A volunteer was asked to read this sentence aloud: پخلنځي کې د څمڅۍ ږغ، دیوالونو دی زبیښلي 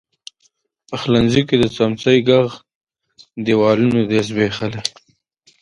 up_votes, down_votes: 2, 1